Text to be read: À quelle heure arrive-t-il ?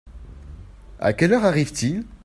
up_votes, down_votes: 2, 0